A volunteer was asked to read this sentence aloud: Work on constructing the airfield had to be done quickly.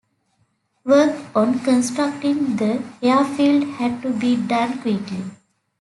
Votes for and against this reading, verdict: 2, 0, accepted